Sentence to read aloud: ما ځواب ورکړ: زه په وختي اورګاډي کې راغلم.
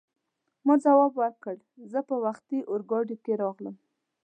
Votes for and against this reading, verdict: 2, 0, accepted